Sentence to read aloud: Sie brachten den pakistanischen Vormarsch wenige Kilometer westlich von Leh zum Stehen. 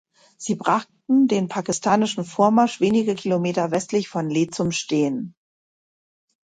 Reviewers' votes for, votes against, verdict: 2, 0, accepted